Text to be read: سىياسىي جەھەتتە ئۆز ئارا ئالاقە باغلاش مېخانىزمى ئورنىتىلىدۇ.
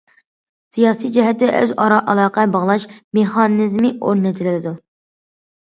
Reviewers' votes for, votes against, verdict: 2, 0, accepted